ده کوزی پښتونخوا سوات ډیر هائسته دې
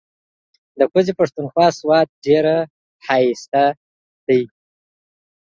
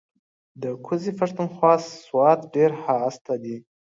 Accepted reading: second